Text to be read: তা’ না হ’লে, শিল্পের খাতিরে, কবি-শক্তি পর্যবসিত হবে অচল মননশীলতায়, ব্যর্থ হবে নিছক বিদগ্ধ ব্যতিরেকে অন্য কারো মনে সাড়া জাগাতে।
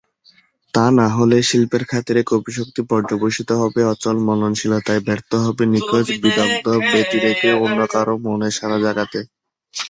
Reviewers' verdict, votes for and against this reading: rejected, 0, 2